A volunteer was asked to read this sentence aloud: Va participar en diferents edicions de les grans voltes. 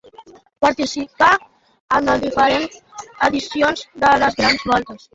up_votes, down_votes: 1, 2